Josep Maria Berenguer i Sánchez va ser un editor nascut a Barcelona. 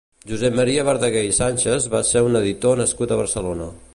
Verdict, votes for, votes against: rejected, 1, 2